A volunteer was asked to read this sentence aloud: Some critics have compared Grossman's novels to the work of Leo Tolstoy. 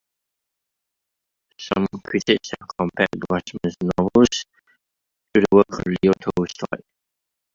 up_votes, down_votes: 1, 2